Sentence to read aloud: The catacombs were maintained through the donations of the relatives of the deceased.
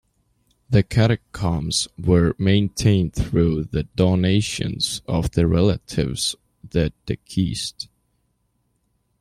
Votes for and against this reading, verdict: 1, 2, rejected